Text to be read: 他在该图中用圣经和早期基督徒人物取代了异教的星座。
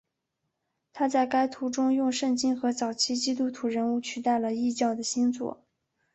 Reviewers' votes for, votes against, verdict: 3, 0, accepted